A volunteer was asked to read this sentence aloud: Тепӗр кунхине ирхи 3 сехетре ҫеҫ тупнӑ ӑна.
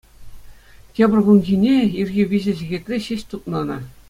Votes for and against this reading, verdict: 0, 2, rejected